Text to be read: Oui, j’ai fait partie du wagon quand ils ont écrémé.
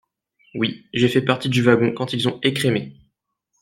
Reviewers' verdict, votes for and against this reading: accepted, 2, 0